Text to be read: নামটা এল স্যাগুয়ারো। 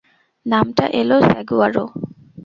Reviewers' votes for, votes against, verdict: 2, 2, rejected